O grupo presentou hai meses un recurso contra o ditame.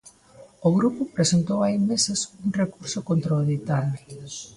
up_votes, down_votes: 2, 0